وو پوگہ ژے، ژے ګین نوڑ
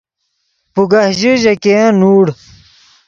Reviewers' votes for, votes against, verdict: 4, 0, accepted